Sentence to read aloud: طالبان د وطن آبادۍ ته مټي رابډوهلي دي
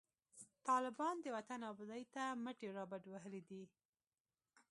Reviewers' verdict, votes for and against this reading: accepted, 2, 0